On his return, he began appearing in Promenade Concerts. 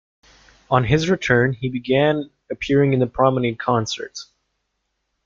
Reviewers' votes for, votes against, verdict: 1, 2, rejected